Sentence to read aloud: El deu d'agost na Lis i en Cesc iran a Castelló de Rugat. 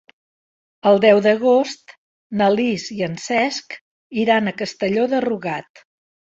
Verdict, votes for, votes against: accepted, 2, 0